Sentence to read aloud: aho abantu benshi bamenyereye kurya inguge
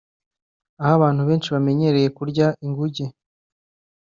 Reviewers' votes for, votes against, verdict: 2, 0, accepted